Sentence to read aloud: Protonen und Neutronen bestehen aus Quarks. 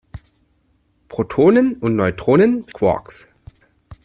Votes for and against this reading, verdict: 0, 2, rejected